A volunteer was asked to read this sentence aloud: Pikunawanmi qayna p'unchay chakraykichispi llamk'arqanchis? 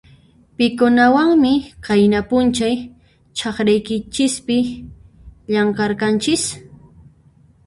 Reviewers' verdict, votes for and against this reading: rejected, 0, 2